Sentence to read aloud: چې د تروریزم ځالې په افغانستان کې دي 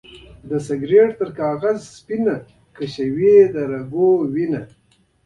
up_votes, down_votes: 1, 2